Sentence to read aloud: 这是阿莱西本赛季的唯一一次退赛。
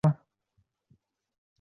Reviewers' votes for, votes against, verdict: 0, 4, rejected